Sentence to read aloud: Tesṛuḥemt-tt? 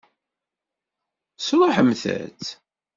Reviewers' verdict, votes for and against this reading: accepted, 2, 0